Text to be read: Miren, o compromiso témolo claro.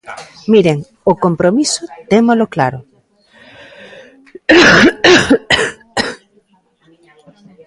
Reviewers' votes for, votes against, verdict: 1, 2, rejected